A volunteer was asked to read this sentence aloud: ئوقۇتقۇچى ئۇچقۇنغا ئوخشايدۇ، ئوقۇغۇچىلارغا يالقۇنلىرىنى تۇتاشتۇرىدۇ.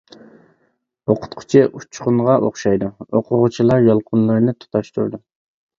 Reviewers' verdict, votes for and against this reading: rejected, 0, 2